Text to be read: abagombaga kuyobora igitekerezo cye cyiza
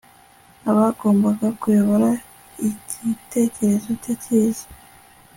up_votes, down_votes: 2, 0